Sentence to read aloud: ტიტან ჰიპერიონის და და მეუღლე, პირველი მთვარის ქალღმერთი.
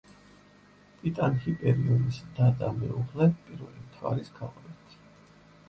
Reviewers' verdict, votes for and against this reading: rejected, 0, 3